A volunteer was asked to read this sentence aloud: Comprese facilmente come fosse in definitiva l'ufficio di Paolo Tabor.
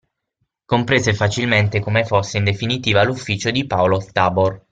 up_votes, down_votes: 6, 0